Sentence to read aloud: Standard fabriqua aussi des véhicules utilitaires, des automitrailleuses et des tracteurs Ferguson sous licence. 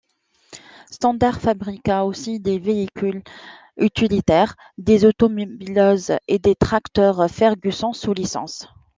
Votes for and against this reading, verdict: 0, 2, rejected